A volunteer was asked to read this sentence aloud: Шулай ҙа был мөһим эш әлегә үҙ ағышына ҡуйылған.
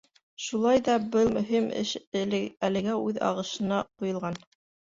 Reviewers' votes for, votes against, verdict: 2, 3, rejected